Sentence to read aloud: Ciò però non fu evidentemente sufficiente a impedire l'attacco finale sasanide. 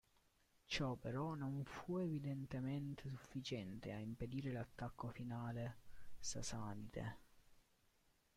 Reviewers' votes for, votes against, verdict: 0, 2, rejected